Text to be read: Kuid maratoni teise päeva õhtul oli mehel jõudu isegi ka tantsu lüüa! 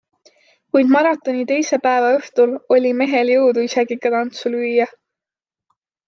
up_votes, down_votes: 2, 0